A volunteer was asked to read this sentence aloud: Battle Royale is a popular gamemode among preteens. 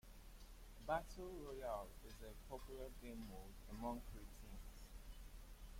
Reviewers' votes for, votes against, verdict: 1, 2, rejected